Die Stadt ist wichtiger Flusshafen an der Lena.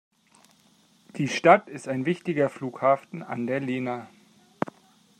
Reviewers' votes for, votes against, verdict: 1, 2, rejected